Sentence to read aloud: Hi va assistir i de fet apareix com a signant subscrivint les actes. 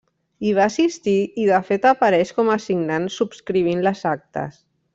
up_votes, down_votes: 3, 0